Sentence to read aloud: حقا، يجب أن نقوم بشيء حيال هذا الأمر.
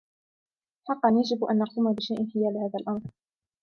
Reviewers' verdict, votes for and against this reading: accepted, 2, 0